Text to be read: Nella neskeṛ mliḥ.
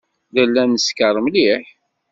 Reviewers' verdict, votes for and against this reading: accepted, 2, 0